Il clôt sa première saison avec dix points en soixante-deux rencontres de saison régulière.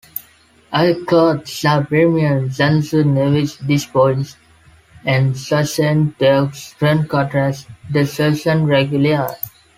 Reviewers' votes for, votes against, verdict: 1, 2, rejected